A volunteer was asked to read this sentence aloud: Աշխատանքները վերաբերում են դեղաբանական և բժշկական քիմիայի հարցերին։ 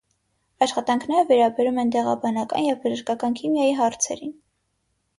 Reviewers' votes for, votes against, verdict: 6, 0, accepted